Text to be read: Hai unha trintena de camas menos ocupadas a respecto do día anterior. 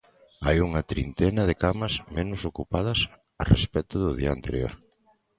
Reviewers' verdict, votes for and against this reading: accepted, 2, 0